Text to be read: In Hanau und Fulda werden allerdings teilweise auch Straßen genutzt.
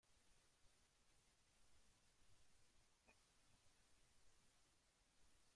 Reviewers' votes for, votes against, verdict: 0, 2, rejected